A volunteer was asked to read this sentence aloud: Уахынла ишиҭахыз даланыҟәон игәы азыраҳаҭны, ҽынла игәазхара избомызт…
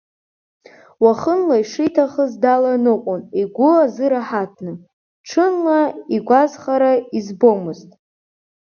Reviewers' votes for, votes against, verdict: 1, 2, rejected